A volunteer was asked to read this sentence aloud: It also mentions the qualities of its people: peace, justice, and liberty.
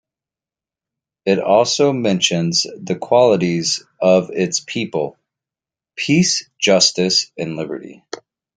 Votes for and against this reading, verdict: 2, 0, accepted